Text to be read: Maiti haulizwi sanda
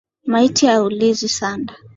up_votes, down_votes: 2, 0